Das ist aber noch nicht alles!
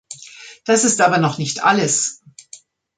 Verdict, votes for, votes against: rejected, 0, 2